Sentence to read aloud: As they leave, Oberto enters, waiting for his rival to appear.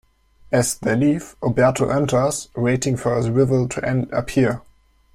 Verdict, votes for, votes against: rejected, 1, 2